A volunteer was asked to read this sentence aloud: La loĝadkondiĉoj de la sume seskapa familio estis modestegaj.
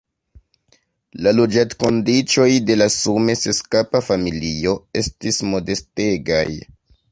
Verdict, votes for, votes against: accepted, 2, 0